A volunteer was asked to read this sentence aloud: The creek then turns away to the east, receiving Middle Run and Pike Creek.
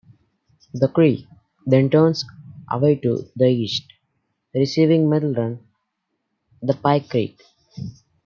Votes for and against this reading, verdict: 2, 0, accepted